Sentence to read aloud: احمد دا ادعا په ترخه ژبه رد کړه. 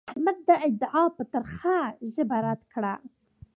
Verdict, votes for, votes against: accepted, 2, 0